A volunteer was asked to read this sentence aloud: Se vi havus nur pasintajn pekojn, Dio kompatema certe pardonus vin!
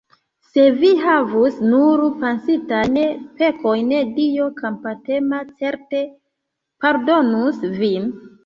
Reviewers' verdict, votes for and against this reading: rejected, 0, 2